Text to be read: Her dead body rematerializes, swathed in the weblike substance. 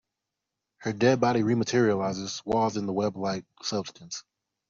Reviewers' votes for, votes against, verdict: 2, 1, accepted